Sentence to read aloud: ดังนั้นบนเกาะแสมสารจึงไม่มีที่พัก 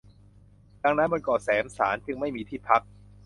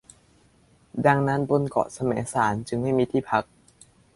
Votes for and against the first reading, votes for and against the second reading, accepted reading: 0, 2, 2, 0, second